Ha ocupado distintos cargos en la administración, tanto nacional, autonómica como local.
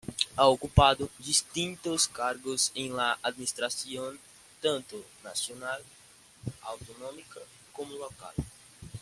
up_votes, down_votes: 2, 0